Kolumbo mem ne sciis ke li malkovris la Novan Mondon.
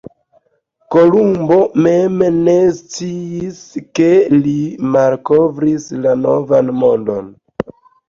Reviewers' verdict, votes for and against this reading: accepted, 2, 0